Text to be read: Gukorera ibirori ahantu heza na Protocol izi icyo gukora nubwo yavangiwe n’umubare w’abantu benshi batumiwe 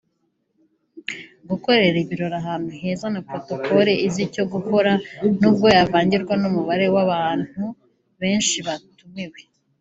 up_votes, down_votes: 1, 2